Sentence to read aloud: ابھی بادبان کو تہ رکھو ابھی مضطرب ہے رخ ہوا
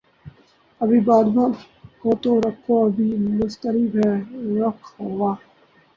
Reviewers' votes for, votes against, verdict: 0, 2, rejected